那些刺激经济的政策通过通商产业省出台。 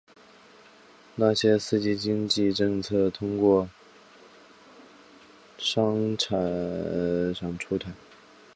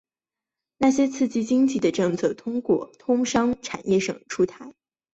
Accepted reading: second